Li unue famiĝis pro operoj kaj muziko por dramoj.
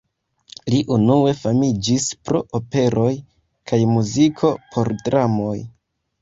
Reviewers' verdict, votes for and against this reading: accepted, 2, 1